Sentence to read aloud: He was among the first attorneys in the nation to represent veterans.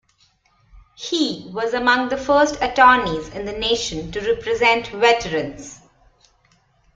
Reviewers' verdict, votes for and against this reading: accepted, 2, 0